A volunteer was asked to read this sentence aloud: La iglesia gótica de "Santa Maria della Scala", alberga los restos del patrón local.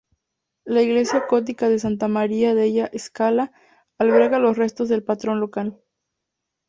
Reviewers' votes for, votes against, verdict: 4, 0, accepted